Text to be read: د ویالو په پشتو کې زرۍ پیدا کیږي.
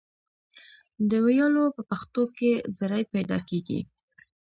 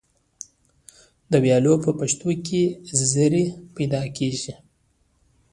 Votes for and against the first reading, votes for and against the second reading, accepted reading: 0, 2, 2, 1, second